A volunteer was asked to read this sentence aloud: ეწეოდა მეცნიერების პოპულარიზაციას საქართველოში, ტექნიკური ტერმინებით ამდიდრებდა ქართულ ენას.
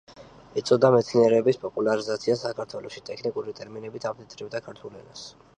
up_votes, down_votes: 2, 0